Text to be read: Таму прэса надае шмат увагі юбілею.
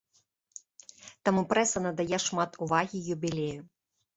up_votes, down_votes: 2, 0